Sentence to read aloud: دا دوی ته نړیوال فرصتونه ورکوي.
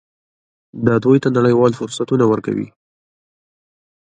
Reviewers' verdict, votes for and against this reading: accepted, 2, 1